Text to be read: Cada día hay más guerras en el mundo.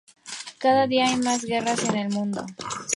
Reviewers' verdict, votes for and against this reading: accepted, 2, 0